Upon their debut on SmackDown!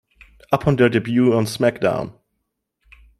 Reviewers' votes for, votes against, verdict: 2, 0, accepted